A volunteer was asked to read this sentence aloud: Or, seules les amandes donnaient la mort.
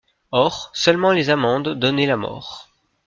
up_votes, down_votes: 0, 2